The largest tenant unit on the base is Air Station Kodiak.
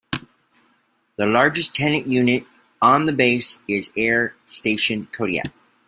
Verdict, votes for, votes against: accepted, 2, 0